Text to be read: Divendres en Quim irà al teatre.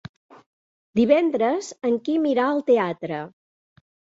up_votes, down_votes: 3, 0